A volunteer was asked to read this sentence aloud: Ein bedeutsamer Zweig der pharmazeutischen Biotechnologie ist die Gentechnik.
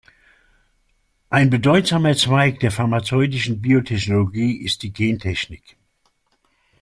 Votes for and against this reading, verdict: 2, 0, accepted